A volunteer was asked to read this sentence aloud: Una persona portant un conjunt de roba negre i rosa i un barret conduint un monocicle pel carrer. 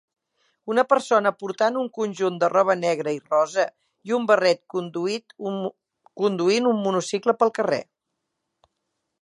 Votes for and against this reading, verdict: 0, 3, rejected